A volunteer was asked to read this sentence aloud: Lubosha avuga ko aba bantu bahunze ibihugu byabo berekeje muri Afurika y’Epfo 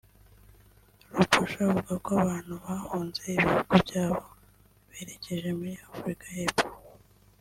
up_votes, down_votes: 1, 2